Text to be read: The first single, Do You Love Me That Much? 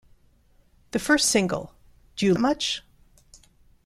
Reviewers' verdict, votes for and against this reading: rejected, 0, 2